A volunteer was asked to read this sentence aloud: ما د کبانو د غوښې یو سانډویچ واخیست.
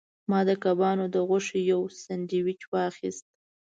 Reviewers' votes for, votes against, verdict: 3, 0, accepted